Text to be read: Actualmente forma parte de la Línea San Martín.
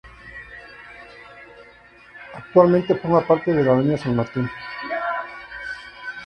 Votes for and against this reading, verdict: 0, 2, rejected